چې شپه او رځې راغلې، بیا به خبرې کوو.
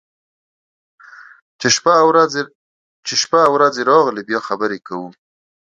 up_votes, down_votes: 1, 2